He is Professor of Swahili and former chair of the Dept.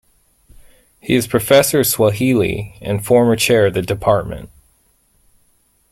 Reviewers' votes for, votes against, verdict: 2, 0, accepted